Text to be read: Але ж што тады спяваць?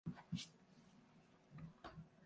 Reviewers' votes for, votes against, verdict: 0, 3, rejected